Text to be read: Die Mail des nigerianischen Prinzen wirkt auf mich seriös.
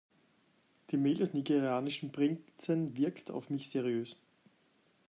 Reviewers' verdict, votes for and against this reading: rejected, 1, 2